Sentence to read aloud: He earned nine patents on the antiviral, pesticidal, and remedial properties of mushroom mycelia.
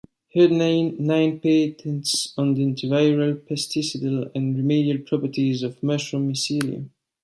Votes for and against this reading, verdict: 1, 3, rejected